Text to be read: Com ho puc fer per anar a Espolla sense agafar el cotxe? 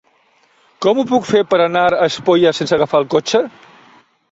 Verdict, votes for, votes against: accepted, 3, 0